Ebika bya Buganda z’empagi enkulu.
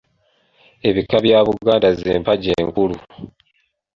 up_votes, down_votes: 2, 0